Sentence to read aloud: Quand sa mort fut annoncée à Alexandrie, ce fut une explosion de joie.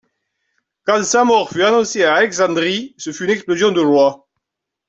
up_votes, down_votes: 2, 0